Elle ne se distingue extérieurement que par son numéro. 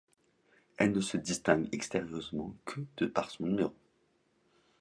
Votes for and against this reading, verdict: 0, 3, rejected